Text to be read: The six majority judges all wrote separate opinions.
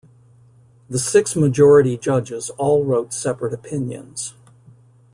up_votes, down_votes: 1, 2